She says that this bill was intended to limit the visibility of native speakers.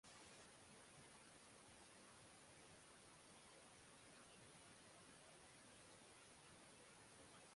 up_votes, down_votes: 0, 6